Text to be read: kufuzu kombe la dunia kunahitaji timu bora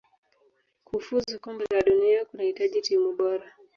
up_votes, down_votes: 1, 2